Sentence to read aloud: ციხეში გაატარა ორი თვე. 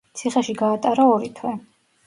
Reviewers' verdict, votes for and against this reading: accepted, 2, 0